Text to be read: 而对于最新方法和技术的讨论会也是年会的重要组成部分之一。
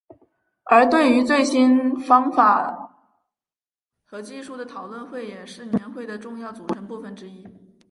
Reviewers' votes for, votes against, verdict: 2, 0, accepted